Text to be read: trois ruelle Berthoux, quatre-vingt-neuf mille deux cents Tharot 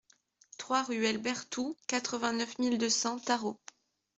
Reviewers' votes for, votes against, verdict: 2, 0, accepted